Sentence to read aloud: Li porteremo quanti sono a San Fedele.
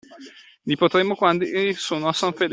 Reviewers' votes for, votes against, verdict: 0, 2, rejected